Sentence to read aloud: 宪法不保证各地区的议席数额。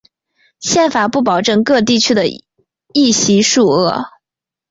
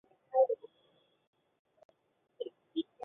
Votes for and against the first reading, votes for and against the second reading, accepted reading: 2, 0, 0, 4, first